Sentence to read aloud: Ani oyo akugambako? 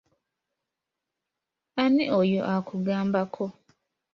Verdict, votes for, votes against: accepted, 2, 0